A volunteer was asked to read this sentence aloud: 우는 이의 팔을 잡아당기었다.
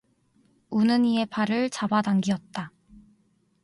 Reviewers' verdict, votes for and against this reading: rejected, 0, 2